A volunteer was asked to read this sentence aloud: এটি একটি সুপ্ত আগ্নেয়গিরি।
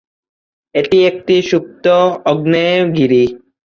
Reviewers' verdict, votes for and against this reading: rejected, 0, 15